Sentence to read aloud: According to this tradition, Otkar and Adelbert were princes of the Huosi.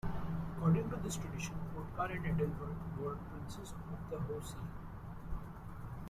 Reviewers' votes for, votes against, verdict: 0, 2, rejected